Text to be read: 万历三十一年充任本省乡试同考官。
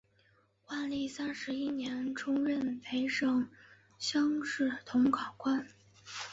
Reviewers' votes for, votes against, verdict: 2, 0, accepted